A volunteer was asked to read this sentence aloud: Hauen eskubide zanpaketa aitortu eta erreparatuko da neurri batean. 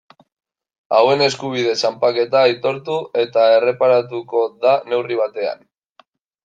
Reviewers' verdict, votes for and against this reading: rejected, 0, 2